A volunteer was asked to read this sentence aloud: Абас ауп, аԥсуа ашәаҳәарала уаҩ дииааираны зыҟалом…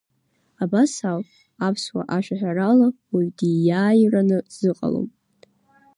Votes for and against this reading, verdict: 0, 2, rejected